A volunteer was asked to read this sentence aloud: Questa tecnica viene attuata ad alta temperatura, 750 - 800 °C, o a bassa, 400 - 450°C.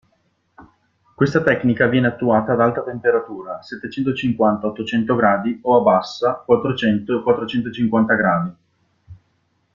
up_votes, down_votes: 0, 2